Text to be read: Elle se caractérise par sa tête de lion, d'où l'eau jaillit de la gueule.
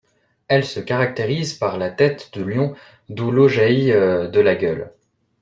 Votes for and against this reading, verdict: 0, 2, rejected